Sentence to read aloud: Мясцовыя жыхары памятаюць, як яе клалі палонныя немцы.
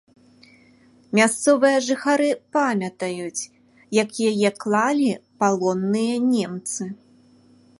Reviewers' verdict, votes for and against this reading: accepted, 2, 0